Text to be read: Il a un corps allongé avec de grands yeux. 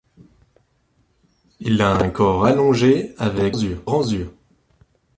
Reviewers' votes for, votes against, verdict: 1, 2, rejected